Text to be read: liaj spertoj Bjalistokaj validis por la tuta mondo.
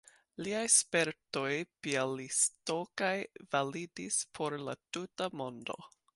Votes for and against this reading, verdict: 2, 0, accepted